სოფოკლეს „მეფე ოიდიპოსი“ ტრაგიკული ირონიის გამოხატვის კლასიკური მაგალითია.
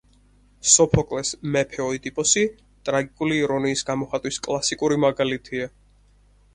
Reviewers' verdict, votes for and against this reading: accepted, 4, 0